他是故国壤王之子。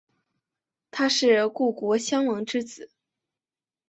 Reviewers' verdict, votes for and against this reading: accepted, 2, 1